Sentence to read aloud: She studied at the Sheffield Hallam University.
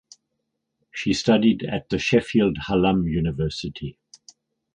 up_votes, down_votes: 4, 0